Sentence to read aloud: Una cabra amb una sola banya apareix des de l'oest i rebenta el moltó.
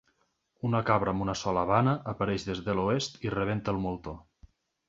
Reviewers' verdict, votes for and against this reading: rejected, 1, 2